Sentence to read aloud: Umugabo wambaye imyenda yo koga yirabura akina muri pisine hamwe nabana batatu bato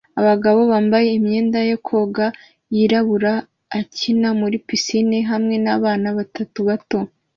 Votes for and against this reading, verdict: 2, 0, accepted